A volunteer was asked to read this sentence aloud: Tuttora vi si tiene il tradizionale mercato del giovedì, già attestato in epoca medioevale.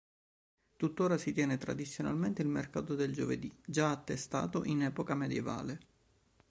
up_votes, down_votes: 1, 2